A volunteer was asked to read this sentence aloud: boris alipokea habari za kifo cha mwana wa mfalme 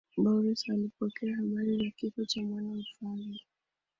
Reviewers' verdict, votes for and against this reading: accepted, 2, 0